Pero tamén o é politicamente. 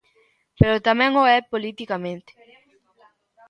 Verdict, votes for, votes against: accepted, 2, 0